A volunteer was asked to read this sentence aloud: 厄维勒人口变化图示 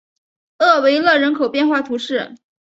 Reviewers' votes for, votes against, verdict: 2, 0, accepted